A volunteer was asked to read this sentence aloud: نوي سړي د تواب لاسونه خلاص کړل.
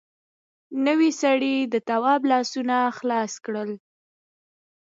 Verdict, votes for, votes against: rejected, 1, 2